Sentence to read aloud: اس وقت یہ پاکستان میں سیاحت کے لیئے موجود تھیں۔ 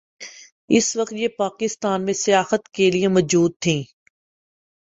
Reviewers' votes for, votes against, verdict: 2, 0, accepted